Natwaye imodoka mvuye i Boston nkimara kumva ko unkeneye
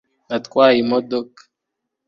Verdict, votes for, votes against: rejected, 1, 2